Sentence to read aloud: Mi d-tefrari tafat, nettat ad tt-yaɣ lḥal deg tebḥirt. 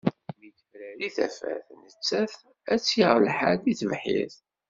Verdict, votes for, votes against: accepted, 2, 0